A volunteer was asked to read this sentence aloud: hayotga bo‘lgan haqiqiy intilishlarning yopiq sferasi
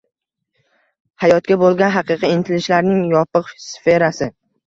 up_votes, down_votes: 1, 2